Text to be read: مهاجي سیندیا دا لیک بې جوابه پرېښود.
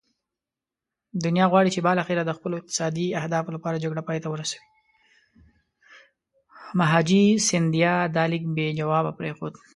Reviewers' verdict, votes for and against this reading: rejected, 1, 2